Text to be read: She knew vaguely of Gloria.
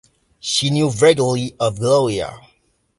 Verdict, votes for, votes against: rejected, 0, 2